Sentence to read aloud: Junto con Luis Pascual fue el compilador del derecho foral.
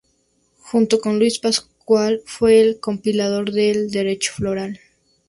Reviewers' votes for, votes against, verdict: 2, 0, accepted